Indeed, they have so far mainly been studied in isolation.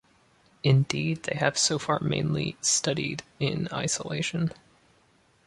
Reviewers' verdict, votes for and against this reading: rejected, 1, 2